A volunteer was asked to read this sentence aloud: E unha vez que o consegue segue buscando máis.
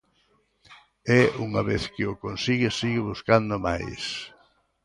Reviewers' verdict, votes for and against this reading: rejected, 0, 2